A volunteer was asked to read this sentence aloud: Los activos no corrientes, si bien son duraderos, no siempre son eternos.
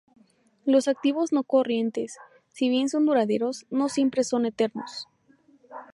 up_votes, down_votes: 2, 0